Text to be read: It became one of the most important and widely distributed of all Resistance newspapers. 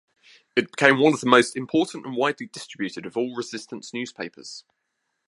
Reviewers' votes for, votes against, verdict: 2, 0, accepted